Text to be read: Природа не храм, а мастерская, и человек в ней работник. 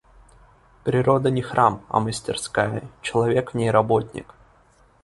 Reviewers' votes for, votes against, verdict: 1, 2, rejected